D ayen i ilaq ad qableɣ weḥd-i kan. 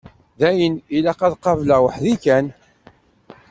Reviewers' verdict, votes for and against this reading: rejected, 0, 2